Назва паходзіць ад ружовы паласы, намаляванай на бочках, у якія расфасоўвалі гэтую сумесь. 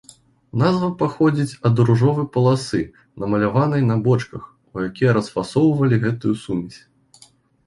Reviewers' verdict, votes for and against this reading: accepted, 2, 0